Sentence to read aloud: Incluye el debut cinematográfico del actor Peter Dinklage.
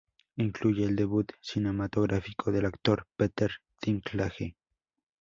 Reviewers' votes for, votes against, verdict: 2, 0, accepted